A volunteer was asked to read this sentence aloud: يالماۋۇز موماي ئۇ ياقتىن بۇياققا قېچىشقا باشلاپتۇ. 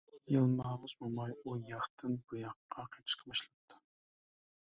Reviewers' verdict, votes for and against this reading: rejected, 1, 2